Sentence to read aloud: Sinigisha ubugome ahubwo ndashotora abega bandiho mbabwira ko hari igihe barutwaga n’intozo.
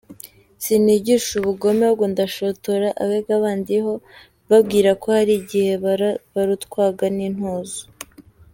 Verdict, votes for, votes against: rejected, 0, 2